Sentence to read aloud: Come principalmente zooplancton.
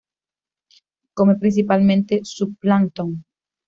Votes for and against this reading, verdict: 1, 2, rejected